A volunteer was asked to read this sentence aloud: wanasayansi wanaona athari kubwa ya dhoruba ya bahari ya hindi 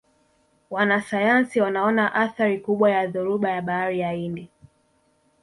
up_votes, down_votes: 0, 2